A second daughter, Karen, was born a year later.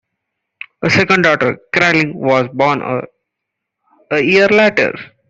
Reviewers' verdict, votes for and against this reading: rejected, 1, 2